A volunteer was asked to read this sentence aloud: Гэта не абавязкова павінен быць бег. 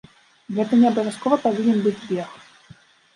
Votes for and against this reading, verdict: 2, 0, accepted